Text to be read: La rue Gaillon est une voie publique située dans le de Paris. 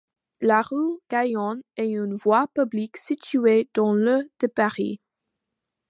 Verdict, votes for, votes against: accepted, 2, 0